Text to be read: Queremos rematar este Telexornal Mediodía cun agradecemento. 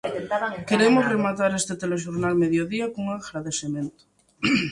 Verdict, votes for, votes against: rejected, 0, 2